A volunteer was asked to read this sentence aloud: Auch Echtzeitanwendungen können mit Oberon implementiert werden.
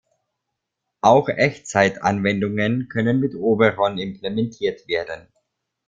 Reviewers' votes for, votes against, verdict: 2, 0, accepted